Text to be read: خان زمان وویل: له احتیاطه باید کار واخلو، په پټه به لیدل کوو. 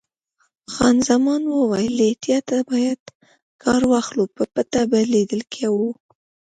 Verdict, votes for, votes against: accepted, 2, 0